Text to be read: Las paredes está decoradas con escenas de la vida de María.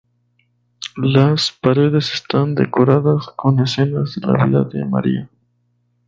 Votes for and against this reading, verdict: 2, 0, accepted